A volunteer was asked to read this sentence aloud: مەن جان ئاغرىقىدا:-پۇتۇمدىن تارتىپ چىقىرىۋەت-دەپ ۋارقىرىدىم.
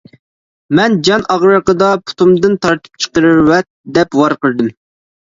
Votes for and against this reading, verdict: 3, 0, accepted